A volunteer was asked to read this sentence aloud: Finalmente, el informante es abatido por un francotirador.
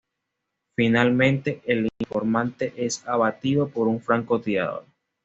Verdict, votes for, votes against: rejected, 1, 2